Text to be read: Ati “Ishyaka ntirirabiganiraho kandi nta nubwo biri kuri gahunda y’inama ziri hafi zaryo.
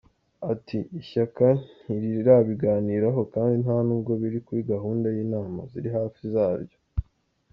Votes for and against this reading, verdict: 2, 0, accepted